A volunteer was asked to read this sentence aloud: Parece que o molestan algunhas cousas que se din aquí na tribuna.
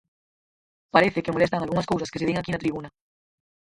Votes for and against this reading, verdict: 0, 4, rejected